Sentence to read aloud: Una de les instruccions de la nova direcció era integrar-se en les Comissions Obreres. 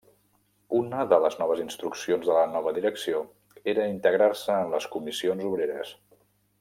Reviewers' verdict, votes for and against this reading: rejected, 0, 2